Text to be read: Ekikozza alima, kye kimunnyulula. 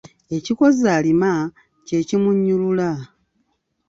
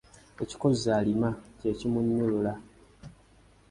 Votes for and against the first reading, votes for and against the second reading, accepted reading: 0, 2, 2, 1, second